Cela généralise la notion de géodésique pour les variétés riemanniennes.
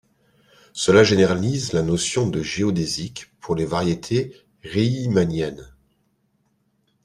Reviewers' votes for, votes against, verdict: 2, 0, accepted